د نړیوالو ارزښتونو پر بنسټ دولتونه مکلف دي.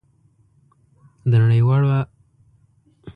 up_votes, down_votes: 0, 2